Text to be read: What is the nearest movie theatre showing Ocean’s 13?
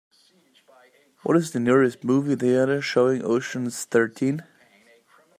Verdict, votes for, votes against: rejected, 0, 2